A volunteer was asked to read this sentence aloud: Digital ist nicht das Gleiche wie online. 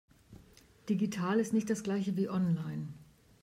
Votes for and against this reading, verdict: 2, 0, accepted